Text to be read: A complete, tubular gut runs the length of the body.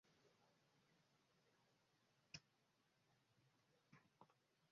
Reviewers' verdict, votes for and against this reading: rejected, 0, 2